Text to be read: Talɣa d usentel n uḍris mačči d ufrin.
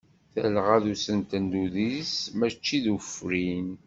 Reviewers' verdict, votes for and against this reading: rejected, 1, 2